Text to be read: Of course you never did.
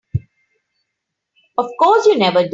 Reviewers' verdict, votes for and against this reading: rejected, 2, 5